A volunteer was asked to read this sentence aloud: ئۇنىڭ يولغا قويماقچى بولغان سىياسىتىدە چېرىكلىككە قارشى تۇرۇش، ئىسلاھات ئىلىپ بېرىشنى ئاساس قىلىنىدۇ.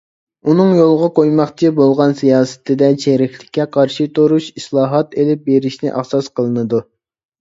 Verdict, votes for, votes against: accepted, 2, 0